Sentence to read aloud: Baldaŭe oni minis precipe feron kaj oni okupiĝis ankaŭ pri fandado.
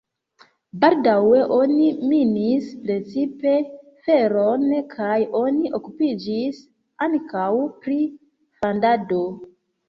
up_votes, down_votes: 0, 2